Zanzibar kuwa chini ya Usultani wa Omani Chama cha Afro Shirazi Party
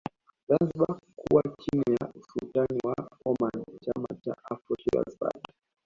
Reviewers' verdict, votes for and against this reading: rejected, 0, 2